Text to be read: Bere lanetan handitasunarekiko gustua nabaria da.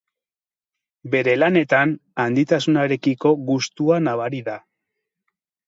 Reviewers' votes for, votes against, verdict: 2, 2, rejected